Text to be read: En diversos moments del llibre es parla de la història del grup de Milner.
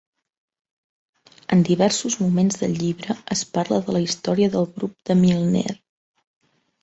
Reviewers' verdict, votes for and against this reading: accepted, 4, 0